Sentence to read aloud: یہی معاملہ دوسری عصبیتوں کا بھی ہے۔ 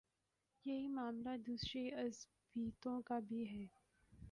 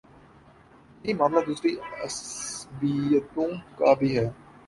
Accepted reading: second